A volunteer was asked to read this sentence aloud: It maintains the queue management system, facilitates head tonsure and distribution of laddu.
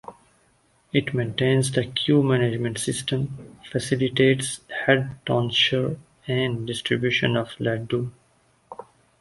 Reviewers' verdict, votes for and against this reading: accepted, 2, 0